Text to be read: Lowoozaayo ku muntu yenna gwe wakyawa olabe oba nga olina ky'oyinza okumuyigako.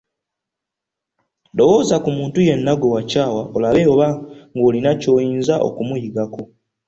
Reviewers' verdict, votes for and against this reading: rejected, 0, 2